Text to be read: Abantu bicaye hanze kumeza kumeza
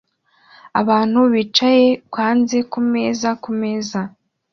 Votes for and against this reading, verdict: 2, 0, accepted